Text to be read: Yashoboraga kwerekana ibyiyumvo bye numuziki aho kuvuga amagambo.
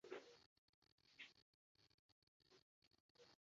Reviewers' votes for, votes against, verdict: 0, 2, rejected